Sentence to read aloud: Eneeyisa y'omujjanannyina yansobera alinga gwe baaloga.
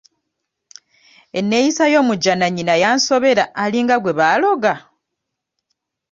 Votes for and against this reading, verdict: 2, 0, accepted